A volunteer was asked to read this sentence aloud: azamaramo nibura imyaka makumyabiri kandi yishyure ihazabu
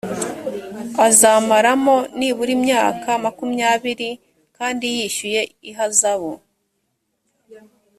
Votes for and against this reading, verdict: 2, 3, rejected